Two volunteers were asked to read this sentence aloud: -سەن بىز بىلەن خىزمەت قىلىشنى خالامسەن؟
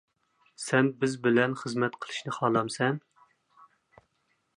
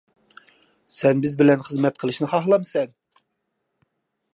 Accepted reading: first